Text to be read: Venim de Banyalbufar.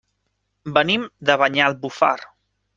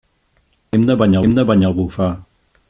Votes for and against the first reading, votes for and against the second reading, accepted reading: 3, 0, 0, 2, first